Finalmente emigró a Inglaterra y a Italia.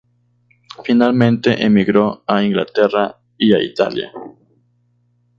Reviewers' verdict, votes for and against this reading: accepted, 2, 0